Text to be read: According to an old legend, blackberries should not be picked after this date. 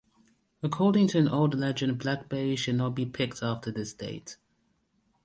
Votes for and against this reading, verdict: 2, 0, accepted